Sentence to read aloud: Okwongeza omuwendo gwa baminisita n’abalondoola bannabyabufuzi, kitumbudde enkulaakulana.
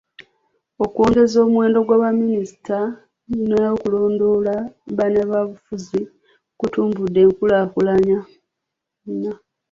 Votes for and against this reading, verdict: 1, 2, rejected